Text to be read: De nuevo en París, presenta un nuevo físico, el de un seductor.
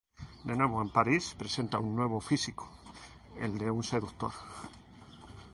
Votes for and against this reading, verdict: 0, 2, rejected